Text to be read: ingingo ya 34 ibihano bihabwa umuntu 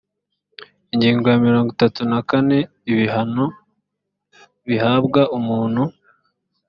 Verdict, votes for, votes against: rejected, 0, 2